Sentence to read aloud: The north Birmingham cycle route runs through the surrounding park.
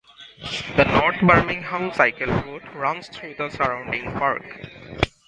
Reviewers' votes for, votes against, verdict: 2, 0, accepted